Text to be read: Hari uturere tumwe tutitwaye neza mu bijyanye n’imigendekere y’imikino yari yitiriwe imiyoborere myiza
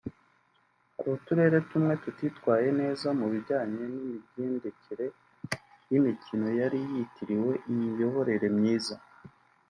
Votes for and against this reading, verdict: 1, 2, rejected